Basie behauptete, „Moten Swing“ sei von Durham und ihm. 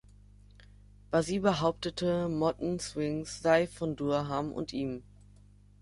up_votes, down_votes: 1, 2